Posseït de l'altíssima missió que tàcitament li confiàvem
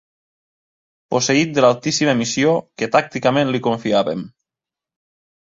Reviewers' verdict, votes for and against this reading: rejected, 0, 2